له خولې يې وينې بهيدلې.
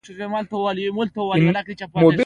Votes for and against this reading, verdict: 0, 2, rejected